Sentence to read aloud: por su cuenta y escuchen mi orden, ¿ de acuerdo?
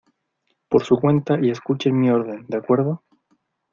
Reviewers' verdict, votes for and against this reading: accepted, 2, 0